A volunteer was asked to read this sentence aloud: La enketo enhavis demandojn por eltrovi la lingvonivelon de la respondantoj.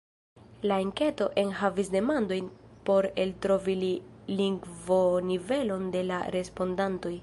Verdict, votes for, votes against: rejected, 0, 2